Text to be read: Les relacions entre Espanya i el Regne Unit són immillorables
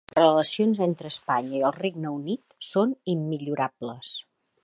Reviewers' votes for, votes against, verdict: 1, 2, rejected